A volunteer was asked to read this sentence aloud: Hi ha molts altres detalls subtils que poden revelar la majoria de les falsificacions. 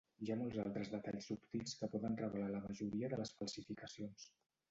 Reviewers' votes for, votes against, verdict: 2, 1, accepted